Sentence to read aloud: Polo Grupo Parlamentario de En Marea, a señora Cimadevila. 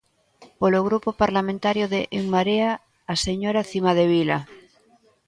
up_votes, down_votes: 2, 0